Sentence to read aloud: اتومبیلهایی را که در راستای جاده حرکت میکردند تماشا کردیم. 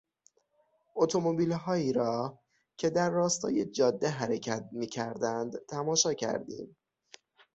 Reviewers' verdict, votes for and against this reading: accepted, 6, 0